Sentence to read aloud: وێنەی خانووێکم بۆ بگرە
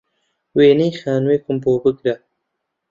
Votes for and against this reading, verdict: 2, 0, accepted